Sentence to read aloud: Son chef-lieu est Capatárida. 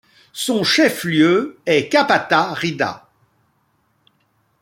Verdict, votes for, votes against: accepted, 2, 0